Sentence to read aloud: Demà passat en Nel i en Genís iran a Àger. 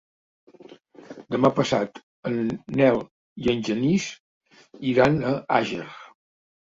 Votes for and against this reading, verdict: 2, 0, accepted